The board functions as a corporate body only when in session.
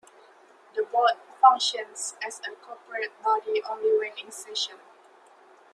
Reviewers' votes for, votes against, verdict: 2, 1, accepted